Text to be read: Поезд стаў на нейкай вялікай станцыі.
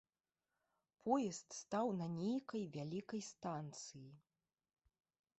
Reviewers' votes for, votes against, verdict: 2, 0, accepted